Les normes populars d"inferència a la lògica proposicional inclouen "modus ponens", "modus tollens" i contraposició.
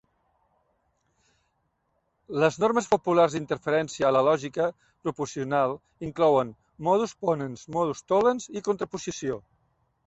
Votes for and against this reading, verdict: 0, 2, rejected